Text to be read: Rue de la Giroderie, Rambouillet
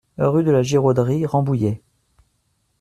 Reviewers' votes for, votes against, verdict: 2, 1, accepted